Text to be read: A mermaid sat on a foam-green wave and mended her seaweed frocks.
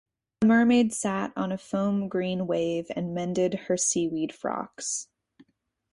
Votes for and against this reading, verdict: 4, 0, accepted